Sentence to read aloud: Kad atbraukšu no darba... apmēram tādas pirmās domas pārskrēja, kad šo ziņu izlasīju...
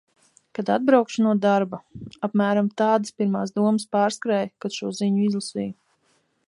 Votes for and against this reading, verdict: 2, 0, accepted